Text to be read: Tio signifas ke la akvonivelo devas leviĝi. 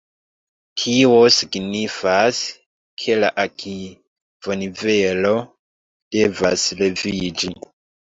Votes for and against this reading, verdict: 0, 2, rejected